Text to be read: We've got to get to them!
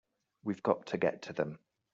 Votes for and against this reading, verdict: 2, 0, accepted